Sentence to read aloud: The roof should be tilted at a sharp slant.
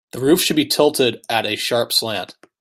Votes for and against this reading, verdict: 2, 0, accepted